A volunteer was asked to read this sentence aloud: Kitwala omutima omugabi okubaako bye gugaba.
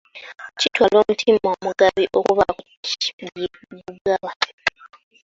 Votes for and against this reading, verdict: 0, 2, rejected